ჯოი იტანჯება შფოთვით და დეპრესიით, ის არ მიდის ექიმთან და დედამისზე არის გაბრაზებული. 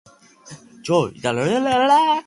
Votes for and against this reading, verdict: 0, 2, rejected